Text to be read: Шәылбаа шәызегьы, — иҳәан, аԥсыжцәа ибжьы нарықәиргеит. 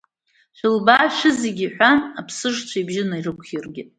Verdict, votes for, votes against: accepted, 2, 0